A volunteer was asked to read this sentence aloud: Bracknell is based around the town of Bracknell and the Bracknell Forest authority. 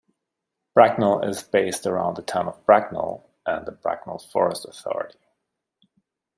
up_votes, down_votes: 2, 0